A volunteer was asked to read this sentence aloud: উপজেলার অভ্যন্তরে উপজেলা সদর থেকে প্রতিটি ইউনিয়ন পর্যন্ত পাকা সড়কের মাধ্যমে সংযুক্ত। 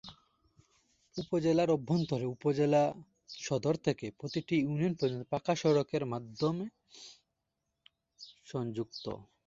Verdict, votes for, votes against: accepted, 2, 0